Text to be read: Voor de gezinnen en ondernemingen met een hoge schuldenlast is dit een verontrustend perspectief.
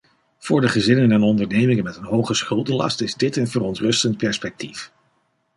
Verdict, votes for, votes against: accepted, 2, 0